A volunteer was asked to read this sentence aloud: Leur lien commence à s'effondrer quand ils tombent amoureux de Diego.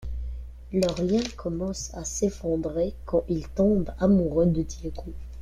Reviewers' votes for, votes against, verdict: 2, 1, accepted